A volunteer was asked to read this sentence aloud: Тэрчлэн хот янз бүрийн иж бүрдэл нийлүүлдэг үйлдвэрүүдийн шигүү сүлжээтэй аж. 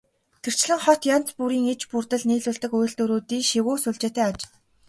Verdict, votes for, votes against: accepted, 3, 0